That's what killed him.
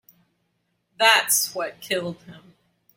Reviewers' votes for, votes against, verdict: 3, 0, accepted